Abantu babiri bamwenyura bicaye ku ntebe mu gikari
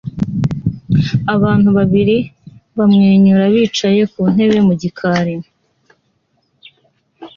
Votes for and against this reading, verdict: 2, 0, accepted